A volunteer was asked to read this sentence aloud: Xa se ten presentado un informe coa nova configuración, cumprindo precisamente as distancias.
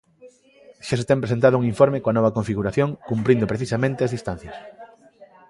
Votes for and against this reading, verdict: 0, 2, rejected